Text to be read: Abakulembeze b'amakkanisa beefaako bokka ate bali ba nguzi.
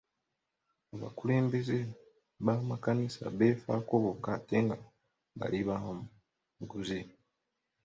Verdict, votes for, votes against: rejected, 1, 2